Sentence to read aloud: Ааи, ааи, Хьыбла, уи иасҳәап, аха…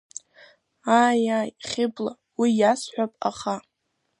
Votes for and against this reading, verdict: 2, 0, accepted